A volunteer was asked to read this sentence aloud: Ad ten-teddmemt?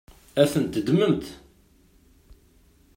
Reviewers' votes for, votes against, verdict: 2, 0, accepted